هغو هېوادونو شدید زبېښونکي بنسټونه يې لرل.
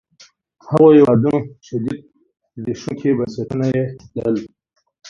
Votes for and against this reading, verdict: 1, 2, rejected